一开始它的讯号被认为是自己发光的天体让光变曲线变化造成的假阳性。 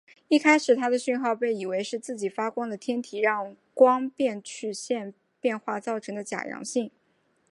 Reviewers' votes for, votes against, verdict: 3, 1, accepted